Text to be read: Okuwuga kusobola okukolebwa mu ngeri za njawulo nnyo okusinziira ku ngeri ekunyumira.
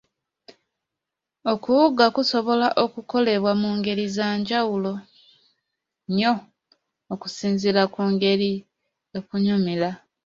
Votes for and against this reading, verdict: 1, 2, rejected